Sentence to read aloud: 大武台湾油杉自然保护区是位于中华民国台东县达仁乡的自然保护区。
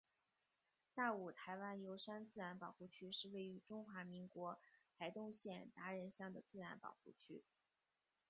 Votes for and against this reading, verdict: 2, 3, rejected